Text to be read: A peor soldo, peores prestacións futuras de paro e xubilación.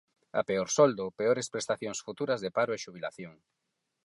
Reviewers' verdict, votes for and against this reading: accepted, 4, 0